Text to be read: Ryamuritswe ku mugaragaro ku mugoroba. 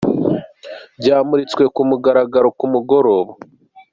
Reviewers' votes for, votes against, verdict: 3, 0, accepted